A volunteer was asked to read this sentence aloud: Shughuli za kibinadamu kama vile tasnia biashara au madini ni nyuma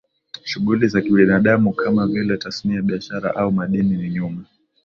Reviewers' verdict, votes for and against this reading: accepted, 2, 0